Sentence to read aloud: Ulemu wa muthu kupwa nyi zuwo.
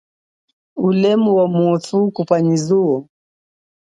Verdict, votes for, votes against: accepted, 2, 0